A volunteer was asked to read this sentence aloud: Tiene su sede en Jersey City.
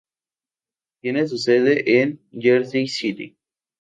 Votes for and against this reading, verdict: 2, 0, accepted